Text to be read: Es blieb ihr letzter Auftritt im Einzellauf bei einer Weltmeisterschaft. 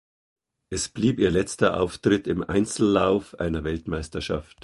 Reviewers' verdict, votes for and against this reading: rejected, 1, 2